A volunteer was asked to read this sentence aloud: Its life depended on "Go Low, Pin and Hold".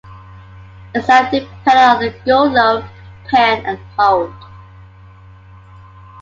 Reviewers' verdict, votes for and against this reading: accepted, 2, 0